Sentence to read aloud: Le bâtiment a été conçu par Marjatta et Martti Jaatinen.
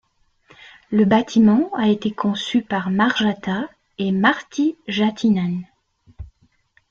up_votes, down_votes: 2, 0